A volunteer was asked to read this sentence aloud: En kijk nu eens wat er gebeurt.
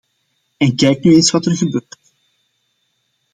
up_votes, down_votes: 1, 2